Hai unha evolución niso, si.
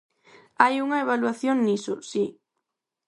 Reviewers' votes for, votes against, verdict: 2, 4, rejected